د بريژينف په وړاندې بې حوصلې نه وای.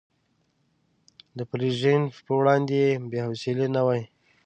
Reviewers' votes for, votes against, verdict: 1, 2, rejected